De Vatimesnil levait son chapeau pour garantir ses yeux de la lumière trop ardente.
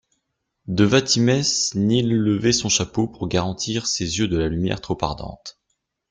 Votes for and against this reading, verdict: 1, 2, rejected